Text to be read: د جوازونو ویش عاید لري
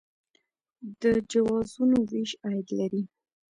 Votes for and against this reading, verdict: 2, 0, accepted